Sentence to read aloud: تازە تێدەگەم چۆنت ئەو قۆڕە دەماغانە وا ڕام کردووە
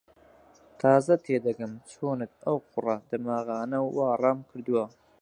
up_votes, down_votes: 2, 4